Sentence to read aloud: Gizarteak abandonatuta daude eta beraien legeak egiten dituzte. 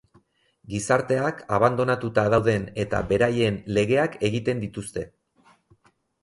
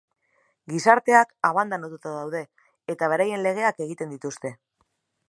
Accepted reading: second